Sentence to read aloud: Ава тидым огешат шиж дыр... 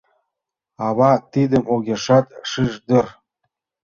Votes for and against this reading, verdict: 2, 0, accepted